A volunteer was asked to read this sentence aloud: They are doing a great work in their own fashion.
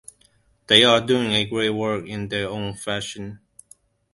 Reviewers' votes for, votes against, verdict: 2, 0, accepted